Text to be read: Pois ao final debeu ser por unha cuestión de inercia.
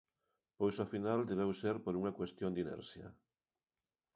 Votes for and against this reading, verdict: 2, 0, accepted